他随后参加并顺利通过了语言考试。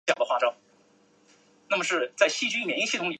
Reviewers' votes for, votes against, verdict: 0, 2, rejected